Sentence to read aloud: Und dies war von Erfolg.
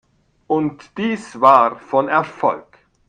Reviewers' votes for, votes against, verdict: 1, 2, rejected